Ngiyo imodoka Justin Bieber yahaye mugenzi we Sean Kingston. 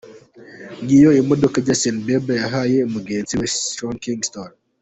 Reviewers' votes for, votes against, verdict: 3, 2, accepted